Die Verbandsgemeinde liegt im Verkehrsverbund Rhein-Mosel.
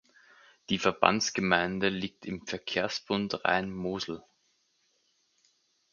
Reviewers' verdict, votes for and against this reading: rejected, 0, 4